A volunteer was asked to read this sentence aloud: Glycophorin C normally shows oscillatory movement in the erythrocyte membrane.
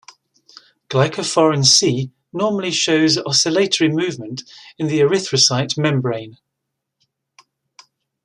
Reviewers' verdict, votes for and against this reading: accepted, 2, 1